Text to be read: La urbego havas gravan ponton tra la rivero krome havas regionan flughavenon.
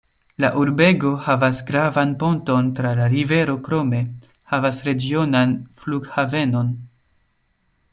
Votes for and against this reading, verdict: 1, 2, rejected